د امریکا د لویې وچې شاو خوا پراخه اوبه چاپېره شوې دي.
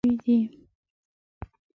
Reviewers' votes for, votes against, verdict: 0, 2, rejected